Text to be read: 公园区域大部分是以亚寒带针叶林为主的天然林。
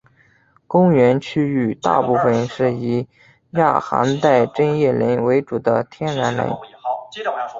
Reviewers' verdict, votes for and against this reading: accepted, 2, 0